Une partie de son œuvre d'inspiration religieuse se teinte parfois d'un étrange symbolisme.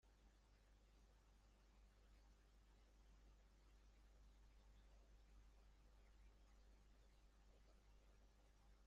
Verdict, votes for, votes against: rejected, 0, 2